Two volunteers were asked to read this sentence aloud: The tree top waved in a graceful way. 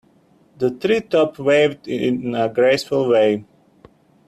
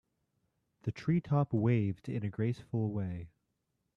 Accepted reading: second